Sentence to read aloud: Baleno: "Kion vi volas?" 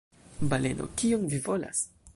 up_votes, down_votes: 2, 0